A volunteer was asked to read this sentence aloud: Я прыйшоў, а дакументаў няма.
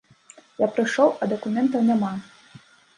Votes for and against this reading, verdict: 2, 0, accepted